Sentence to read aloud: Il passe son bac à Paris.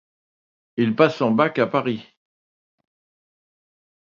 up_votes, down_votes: 2, 0